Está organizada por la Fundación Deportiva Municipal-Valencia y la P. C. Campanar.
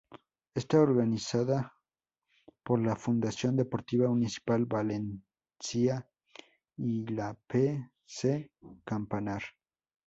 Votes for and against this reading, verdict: 0, 2, rejected